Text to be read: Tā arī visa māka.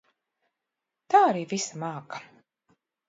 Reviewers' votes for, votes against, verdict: 2, 0, accepted